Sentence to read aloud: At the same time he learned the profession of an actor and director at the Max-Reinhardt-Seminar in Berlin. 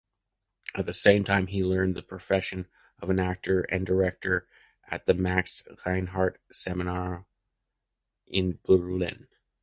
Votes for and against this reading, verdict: 0, 2, rejected